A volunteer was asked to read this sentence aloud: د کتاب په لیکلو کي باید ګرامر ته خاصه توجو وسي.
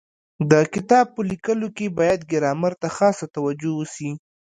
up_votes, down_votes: 2, 1